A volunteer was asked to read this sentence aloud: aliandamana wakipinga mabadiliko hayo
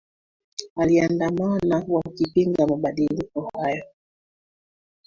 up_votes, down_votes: 2, 1